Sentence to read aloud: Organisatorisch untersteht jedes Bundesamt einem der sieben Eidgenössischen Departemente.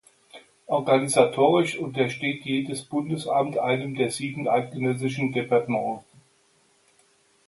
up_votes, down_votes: 3, 0